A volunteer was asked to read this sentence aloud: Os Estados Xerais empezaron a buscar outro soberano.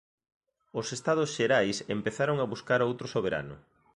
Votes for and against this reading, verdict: 2, 0, accepted